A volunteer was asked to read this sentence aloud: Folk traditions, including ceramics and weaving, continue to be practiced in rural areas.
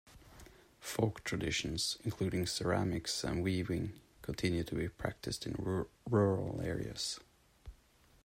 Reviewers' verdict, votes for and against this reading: rejected, 0, 2